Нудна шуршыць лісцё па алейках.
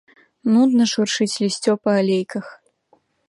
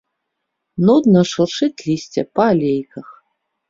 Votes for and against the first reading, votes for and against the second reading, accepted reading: 2, 0, 0, 2, first